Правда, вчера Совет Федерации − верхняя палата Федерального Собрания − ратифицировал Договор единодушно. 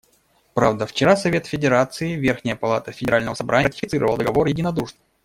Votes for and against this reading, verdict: 1, 2, rejected